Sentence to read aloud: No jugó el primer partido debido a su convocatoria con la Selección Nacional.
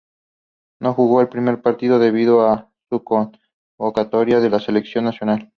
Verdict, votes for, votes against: accepted, 2, 0